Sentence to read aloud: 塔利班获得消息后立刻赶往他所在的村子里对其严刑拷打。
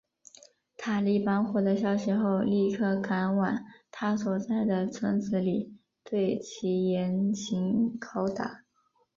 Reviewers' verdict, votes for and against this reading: rejected, 0, 2